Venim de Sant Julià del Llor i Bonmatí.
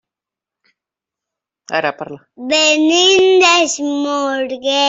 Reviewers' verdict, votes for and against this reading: rejected, 0, 2